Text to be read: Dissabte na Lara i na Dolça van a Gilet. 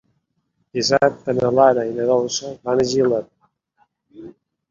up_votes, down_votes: 1, 2